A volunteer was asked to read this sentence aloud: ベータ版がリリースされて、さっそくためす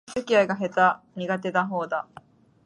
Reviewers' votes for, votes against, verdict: 1, 2, rejected